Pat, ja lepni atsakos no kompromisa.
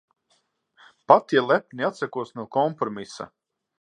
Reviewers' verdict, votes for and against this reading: accepted, 6, 0